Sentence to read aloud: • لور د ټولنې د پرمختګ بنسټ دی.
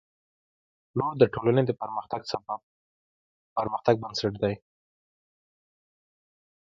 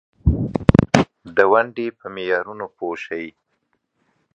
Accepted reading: first